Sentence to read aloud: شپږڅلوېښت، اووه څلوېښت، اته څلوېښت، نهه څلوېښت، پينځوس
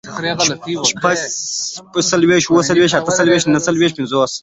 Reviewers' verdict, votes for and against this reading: accepted, 2, 0